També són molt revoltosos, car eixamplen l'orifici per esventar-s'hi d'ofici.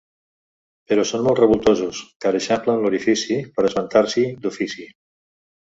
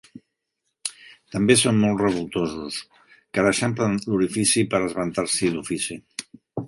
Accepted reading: second